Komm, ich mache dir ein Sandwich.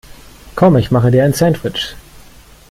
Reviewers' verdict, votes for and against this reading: accepted, 2, 0